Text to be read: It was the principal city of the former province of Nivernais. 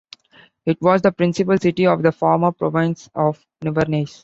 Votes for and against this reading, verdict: 2, 0, accepted